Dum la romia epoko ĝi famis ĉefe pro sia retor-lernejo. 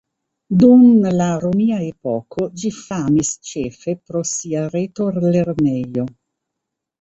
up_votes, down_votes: 2, 1